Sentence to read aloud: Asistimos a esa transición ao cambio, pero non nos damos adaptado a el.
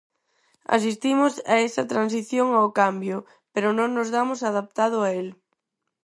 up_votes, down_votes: 4, 0